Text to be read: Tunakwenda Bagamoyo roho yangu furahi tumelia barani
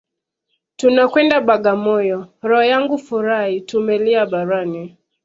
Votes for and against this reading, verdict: 2, 0, accepted